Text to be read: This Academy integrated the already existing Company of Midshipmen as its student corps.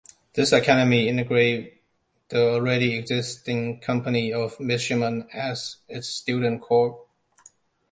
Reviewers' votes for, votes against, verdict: 0, 2, rejected